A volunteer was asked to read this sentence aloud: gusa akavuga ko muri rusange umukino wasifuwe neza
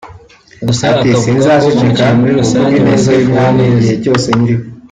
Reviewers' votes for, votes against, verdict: 0, 2, rejected